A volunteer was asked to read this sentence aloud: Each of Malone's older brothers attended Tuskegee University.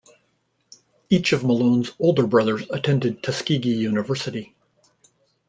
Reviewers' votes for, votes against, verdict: 2, 0, accepted